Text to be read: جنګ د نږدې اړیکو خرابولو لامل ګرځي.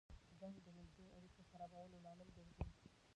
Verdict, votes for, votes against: rejected, 1, 2